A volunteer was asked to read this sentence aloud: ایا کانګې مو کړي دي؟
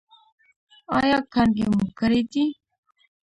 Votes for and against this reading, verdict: 1, 2, rejected